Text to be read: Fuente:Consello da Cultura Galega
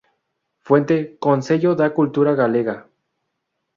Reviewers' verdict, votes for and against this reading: accepted, 2, 0